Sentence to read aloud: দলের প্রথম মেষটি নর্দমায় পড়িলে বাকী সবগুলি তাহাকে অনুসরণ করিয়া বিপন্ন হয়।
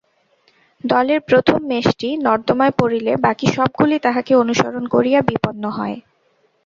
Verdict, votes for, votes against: accepted, 4, 0